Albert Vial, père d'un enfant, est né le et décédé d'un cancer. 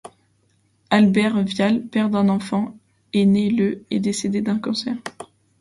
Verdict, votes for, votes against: accepted, 2, 0